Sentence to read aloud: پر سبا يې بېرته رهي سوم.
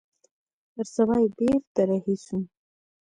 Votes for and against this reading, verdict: 2, 0, accepted